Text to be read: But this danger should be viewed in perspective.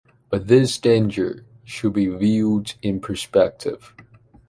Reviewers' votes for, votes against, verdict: 2, 0, accepted